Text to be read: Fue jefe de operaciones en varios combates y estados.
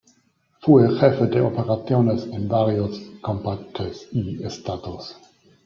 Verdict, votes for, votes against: rejected, 0, 2